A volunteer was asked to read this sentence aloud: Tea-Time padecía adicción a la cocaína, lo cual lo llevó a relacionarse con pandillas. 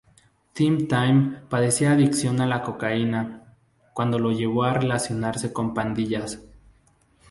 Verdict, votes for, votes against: rejected, 0, 2